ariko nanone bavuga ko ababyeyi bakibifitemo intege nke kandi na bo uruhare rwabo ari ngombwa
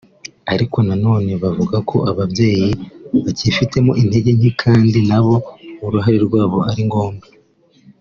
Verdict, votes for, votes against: accepted, 2, 0